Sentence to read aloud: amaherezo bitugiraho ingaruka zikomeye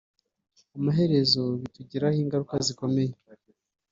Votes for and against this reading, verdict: 2, 0, accepted